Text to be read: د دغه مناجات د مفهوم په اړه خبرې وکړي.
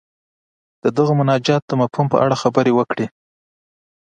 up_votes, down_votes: 2, 0